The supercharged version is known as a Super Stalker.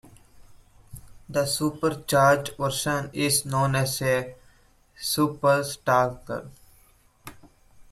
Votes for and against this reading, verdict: 0, 2, rejected